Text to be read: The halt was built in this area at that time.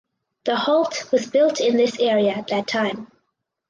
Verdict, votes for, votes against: accepted, 4, 0